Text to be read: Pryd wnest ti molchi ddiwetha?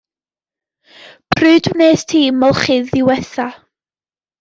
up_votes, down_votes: 2, 0